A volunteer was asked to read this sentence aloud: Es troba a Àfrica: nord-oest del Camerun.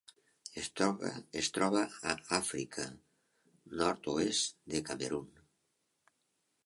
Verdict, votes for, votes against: accepted, 2, 1